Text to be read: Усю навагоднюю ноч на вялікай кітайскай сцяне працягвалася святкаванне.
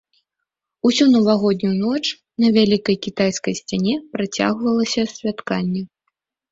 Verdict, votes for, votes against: rejected, 0, 2